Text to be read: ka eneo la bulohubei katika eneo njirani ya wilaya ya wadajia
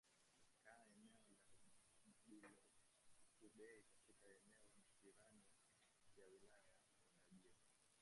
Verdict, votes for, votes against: rejected, 0, 2